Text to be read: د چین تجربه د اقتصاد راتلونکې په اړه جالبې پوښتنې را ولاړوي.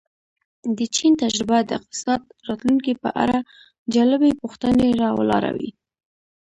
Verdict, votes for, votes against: rejected, 1, 2